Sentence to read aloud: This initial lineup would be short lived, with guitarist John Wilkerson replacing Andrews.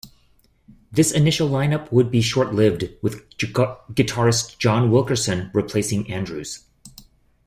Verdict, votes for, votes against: rejected, 1, 2